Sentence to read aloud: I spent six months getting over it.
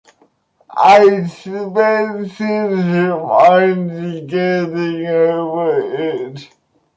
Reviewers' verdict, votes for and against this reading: rejected, 0, 2